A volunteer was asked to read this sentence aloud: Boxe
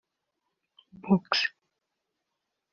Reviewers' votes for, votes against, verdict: 1, 2, rejected